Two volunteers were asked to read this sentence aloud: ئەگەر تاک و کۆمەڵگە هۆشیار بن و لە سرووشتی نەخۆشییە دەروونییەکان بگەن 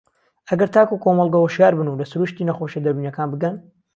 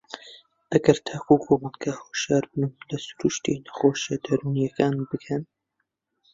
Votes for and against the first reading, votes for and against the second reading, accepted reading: 2, 0, 1, 2, first